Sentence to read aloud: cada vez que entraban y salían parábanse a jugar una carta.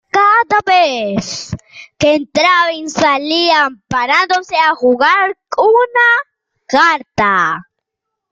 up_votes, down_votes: 1, 2